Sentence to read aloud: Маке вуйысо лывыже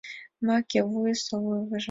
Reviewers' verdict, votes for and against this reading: accepted, 2, 0